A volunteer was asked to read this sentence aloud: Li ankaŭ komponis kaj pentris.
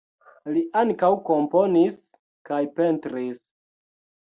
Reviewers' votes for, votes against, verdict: 2, 0, accepted